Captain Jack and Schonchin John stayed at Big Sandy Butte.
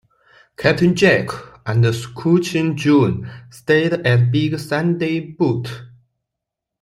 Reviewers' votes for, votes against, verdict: 2, 1, accepted